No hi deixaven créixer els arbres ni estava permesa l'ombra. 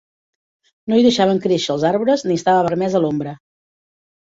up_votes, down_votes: 1, 2